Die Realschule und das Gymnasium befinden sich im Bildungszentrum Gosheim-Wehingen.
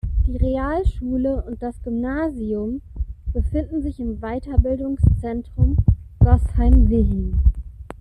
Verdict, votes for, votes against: rejected, 0, 2